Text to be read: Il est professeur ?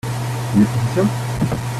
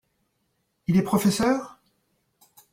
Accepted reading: second